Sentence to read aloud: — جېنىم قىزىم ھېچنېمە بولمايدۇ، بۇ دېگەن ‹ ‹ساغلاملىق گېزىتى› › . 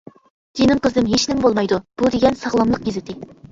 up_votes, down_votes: 1, 2